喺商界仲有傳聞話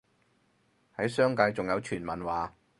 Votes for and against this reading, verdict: 4, 0, accepted